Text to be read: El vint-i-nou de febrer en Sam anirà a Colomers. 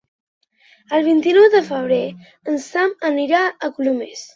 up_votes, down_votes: 2, 0